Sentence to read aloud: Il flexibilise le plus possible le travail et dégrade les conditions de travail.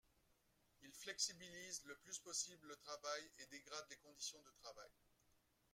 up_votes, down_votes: 1, 2